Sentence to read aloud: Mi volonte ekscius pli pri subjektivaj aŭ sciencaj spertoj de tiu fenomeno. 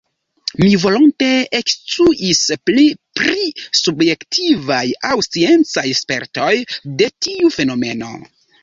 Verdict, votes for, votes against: rejected, 1, 2